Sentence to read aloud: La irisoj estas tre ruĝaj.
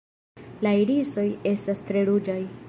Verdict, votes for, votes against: accepted, 3, 0